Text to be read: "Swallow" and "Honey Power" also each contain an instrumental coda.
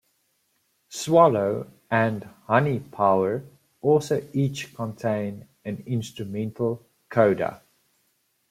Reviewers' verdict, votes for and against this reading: accepted, 2, 0